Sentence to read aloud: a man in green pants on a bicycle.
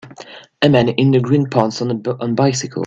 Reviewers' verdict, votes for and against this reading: rejected, 1, 2